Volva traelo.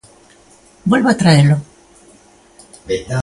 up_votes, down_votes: 0, 2